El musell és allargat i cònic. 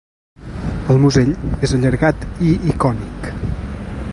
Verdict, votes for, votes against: rejected, 1, 2